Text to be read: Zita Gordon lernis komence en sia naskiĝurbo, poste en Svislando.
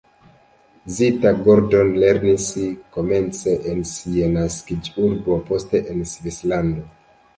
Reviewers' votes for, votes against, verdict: 2, 0, accepted